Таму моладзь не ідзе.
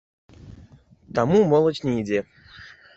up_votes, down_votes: 0, 2